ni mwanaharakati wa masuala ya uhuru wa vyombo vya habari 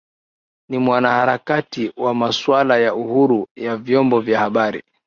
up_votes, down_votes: 7, 5